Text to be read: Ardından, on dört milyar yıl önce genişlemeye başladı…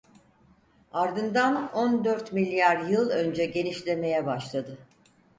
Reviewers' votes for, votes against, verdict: 4, 0, accepted